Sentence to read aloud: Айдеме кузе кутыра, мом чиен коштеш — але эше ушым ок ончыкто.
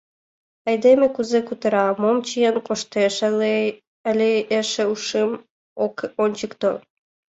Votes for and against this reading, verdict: 1, 2, rejected